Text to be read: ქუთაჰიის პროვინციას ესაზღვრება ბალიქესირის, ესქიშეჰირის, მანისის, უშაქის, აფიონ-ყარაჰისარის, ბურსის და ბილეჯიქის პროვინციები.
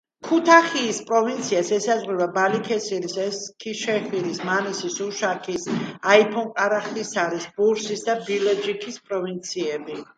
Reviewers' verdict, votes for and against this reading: rejected, 0, 2